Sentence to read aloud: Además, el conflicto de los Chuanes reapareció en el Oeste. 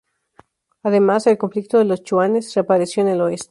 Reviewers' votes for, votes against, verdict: 0, 2, rejected